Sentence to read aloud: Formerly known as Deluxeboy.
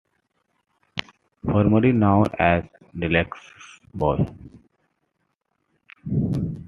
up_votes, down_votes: 2, 1